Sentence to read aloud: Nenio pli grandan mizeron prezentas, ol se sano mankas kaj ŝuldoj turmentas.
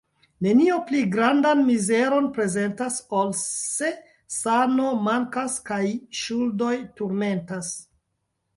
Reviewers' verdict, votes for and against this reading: rejected, 1, 2